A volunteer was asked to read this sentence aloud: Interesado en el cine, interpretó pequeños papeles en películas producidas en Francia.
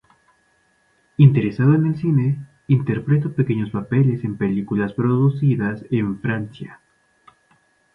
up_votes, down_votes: 2, 0